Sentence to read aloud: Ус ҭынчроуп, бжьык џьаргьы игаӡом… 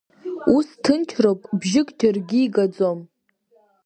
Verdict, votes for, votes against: accepted, 2, 1